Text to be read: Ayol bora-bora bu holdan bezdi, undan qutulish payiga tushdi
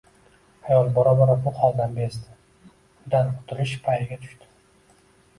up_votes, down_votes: 2, 1